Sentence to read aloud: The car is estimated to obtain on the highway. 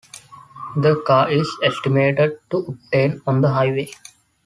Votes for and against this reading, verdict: 2, 0, accepted